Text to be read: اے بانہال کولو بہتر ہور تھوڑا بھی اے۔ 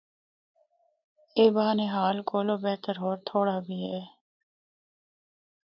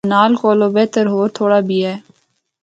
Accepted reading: first